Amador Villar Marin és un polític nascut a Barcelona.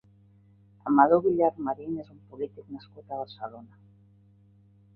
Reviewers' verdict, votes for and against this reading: rejected, 2, 3